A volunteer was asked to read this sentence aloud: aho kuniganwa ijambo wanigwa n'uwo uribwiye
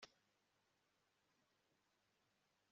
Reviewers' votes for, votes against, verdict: 1, 2, rejected